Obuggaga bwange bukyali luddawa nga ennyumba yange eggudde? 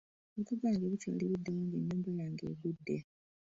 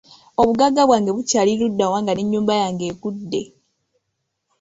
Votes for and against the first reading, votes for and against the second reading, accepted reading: 1, 2, 2, 1, second